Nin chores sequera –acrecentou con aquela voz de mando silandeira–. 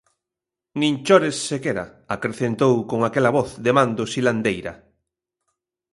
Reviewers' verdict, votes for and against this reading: accepted, 2, 1